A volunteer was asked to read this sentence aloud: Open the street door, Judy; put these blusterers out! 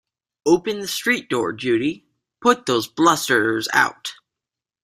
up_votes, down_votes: 1, 2